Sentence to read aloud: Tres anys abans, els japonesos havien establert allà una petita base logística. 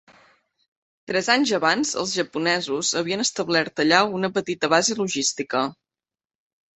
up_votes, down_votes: 2, 0